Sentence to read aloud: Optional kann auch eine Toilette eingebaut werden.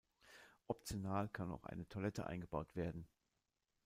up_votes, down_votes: 2, 0